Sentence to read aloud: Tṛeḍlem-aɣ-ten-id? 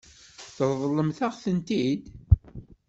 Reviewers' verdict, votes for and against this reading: rejected, 1, 2